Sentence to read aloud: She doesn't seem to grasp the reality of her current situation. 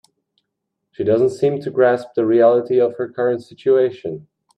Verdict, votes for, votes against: accepted, 2, 0